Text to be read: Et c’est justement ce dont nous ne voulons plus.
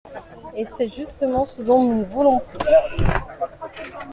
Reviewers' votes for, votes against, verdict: 1, 2, rejected